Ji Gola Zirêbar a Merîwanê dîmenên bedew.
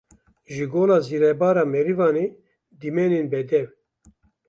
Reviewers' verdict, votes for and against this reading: rejected, 0, 2